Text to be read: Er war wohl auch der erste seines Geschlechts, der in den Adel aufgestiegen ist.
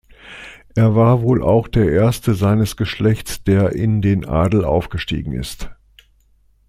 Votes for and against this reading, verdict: 2, 0, accepted